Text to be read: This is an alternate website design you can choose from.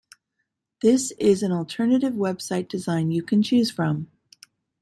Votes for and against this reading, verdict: 0, 2, rejected